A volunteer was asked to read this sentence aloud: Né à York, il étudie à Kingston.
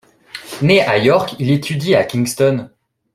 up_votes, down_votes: 2, 0